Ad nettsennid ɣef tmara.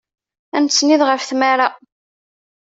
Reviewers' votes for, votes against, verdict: 2, 0, accepted